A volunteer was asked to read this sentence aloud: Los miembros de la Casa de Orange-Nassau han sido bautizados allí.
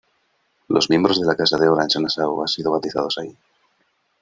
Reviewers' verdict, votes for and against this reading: rejected, 1, 2